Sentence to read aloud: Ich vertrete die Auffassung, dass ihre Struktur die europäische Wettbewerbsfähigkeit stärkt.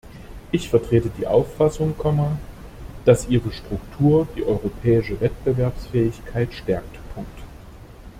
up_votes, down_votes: 0, 2